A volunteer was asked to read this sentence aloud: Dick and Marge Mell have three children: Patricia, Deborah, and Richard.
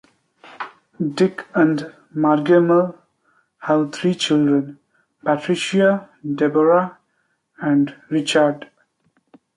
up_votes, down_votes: 0, 2